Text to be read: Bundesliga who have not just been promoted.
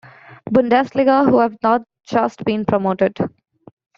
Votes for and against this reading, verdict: 2, 1, accepted